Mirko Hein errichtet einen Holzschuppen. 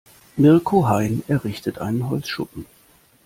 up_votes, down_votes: 2, 0